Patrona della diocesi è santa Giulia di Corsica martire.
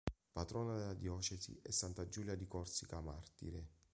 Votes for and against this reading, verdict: 2, 0, accepted